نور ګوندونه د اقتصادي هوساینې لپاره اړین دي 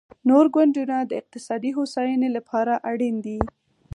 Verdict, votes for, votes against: accepted, 4, 0